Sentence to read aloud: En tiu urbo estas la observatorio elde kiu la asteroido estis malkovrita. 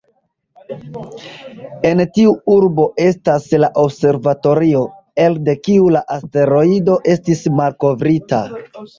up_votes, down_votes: 2, 0